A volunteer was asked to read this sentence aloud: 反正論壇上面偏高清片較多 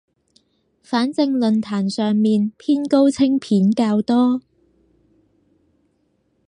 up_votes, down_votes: 4, 0